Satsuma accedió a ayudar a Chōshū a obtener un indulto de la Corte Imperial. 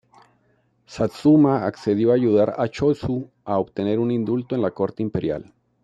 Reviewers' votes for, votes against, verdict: 2, 0, accepted